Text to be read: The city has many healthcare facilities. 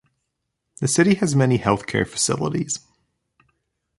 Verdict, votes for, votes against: accepted, 2, 0